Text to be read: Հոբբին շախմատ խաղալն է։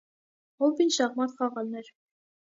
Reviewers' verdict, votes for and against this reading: rejected, 0, 2